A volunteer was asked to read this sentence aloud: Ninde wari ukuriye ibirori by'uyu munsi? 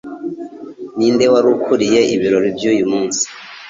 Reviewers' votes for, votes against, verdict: 2, 0, accepted